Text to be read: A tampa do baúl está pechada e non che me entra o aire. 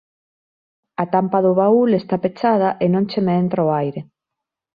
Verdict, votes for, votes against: accepted, 2, 0